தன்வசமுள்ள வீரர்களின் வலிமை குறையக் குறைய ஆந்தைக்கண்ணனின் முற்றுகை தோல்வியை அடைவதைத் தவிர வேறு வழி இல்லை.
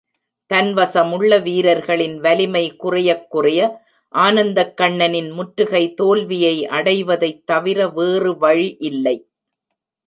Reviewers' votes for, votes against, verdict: 0, 2, rejected